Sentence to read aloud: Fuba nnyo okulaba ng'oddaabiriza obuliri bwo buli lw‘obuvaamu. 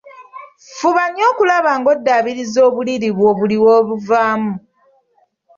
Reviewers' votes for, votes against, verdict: 2, 0, accepted